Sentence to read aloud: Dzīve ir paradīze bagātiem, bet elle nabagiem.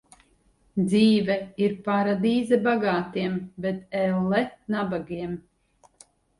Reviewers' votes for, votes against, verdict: 6, 0, accepted